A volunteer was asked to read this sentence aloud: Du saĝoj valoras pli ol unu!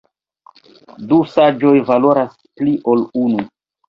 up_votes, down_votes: 1, 2